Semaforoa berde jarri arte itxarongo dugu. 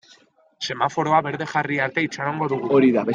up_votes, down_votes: 0, 2